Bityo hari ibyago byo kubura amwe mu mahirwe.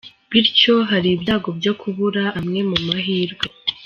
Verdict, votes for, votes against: rejected, 1, 2